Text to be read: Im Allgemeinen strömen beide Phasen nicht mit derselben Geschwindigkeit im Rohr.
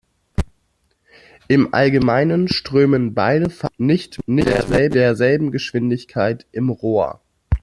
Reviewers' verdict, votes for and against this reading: rejected, 0, 2